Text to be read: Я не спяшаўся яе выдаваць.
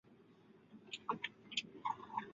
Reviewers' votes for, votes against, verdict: 0, 2, rejected